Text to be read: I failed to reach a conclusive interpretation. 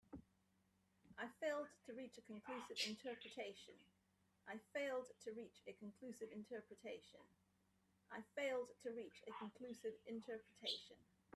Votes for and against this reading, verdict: 0, 3, rejected